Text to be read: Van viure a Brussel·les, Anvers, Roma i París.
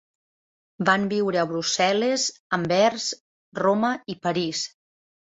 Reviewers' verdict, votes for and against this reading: accepted, 4, 0